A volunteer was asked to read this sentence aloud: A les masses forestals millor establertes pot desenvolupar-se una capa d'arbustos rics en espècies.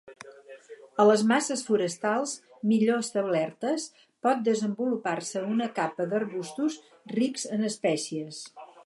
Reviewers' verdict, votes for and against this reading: accepted, 4, 0